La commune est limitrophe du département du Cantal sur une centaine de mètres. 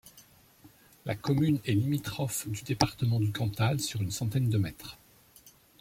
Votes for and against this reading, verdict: 2, 0, accepted